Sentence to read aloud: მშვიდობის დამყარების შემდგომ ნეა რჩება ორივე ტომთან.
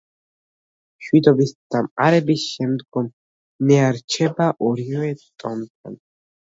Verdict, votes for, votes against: rejected, 1, 2